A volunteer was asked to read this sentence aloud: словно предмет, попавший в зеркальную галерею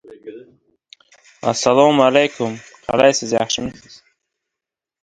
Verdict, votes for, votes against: rejected, 0, 2